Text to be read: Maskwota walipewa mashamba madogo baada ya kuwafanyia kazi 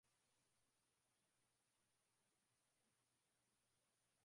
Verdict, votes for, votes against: rejected, 0, 2